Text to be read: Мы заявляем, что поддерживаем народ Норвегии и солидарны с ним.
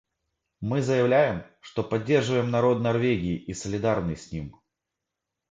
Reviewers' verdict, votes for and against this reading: accepted, 2, 0